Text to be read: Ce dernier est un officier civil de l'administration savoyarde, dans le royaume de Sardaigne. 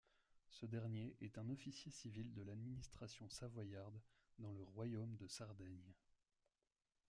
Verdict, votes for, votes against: accepted, 2, 0